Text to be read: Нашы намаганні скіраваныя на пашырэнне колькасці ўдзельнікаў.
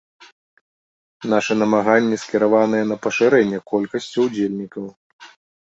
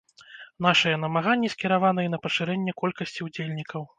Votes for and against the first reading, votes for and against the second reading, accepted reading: 2, 0, 1, 2, first